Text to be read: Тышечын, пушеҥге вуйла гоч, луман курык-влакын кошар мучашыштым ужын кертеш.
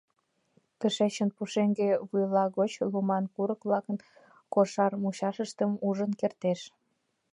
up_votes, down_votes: 2, 0